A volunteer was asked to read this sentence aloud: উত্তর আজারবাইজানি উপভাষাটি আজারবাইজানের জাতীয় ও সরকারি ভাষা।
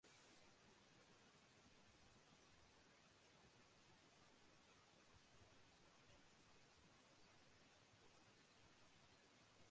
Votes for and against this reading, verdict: 0, 2, rejected